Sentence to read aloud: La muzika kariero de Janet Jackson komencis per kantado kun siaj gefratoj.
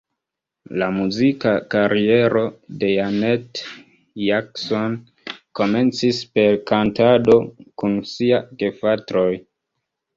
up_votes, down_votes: 0, 2